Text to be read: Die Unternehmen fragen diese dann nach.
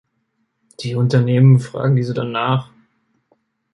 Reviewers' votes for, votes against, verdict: 2, 0, accepted